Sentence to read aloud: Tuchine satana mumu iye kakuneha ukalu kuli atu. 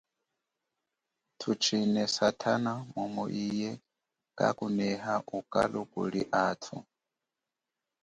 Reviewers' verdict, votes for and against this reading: accepted, 2, 0